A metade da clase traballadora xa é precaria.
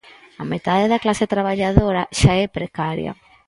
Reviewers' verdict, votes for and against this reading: accepted, 4, 0